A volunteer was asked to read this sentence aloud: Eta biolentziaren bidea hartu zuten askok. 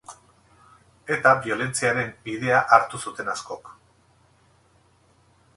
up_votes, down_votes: 4, 0